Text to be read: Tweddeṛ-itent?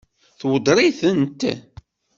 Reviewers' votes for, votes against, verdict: 2, 0, accepted